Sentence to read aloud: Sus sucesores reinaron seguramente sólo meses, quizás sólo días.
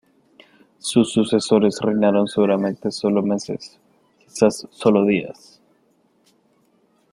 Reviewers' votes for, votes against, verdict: 1, 2, rejected